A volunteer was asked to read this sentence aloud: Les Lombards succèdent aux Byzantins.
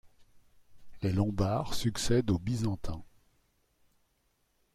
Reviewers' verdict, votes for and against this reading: accepted, 2, 0